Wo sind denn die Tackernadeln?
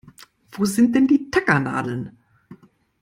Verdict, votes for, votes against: accepted, 2, 0